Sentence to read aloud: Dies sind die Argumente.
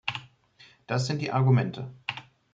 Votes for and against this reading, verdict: 0, 2, rejected